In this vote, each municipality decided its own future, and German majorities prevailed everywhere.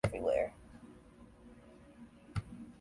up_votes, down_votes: 0, 2